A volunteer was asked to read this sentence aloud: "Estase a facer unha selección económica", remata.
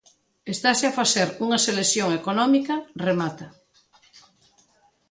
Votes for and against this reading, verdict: 2, 0, accepted